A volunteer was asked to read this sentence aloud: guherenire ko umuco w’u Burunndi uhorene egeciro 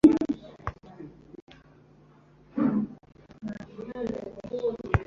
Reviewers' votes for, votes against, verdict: 0, 2, rejected